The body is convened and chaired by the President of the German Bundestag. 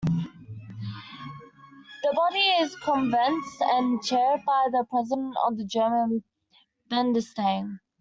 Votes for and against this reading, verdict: 0, 2, rejected